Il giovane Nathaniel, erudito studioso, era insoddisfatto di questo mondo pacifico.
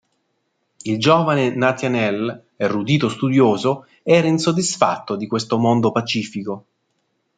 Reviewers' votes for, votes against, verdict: 2, 0, accepted